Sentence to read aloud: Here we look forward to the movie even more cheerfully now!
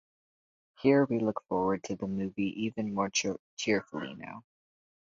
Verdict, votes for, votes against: accepted, 4, 2